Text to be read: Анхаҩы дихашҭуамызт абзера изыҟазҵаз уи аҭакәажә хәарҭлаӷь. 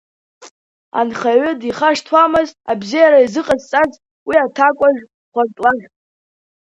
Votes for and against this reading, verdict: 2, 0, accepted